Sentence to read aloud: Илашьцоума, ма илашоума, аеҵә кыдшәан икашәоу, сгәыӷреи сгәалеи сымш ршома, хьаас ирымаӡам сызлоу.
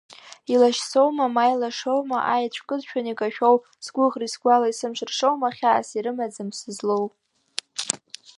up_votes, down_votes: 3, 1